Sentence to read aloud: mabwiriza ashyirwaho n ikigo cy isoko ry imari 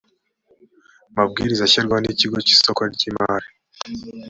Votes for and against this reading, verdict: 3, 0, accepted